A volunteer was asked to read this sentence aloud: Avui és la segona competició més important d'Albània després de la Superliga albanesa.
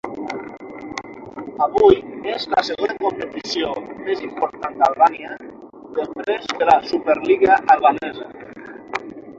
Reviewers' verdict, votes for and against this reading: rejected, 0, 6